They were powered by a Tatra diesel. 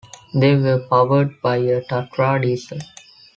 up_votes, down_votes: 2, 0